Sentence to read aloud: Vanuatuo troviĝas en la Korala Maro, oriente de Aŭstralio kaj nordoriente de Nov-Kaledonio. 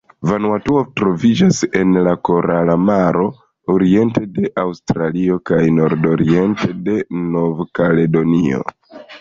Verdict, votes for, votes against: accepted, 2, 1